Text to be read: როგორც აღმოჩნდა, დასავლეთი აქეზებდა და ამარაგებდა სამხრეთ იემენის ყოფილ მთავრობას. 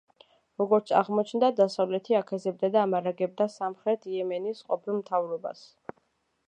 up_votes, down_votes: 2, 0